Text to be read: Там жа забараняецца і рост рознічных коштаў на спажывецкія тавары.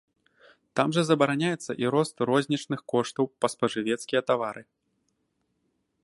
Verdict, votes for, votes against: rejected, 0, 2